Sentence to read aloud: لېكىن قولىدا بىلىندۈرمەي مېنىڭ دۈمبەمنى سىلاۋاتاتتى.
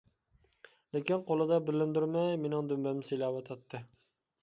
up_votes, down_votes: 2, 0